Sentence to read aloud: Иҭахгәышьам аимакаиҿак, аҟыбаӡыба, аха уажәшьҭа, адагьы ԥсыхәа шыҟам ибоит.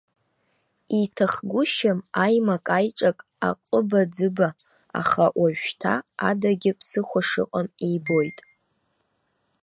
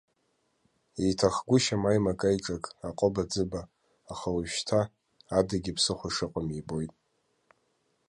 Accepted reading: second